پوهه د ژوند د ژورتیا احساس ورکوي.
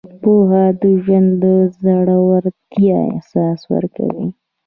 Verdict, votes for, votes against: rejected, 1, 2